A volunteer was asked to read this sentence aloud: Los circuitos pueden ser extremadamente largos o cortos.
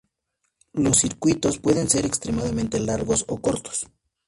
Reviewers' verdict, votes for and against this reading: rejected, 0, 2